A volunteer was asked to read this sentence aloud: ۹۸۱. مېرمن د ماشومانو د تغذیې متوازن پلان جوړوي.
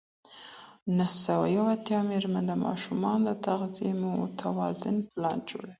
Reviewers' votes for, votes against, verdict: 0, 2, rejected